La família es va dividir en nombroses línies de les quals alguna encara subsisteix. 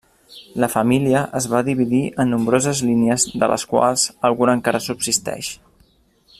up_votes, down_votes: 2, 0